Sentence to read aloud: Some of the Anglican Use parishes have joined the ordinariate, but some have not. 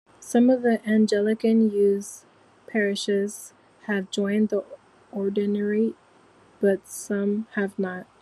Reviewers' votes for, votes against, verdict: 1, 2, rejected